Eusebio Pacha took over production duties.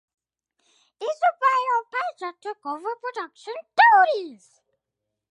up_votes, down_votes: 2, 0